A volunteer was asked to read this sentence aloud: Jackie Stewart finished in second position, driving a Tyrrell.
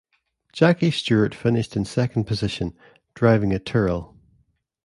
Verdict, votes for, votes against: accepted, 2, 0